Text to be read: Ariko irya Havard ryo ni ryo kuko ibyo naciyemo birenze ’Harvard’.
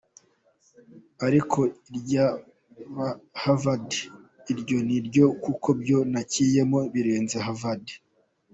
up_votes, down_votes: 1, 2